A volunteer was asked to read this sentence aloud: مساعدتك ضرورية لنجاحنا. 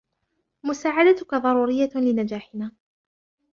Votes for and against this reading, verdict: 2, 0, accepted